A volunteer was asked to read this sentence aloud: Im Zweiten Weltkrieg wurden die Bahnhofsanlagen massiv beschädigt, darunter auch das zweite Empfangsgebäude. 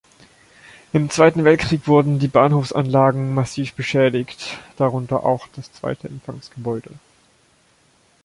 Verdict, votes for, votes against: accepted, 2, 0